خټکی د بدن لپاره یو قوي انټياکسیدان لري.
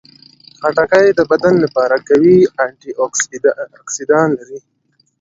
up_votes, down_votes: 1, 2